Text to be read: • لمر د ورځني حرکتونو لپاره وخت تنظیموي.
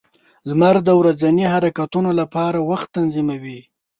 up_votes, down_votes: 3, 0